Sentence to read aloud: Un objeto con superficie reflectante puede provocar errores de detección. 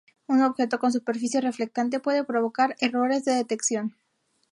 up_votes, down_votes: 2, 0